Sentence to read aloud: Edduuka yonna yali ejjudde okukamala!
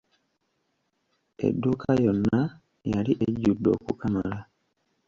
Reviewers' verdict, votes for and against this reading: rejected, 1, 2